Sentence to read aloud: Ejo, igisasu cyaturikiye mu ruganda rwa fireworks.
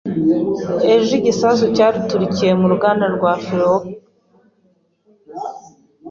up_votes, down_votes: 2, 0